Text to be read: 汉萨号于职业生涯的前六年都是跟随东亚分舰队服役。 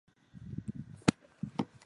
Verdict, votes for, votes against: rejected, 0, 3